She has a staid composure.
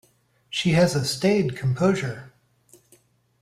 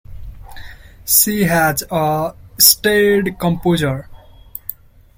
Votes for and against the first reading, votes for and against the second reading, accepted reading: 2, 0, 1, 2, first